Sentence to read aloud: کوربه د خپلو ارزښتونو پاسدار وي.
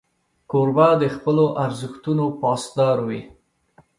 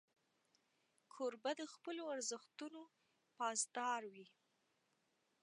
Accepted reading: first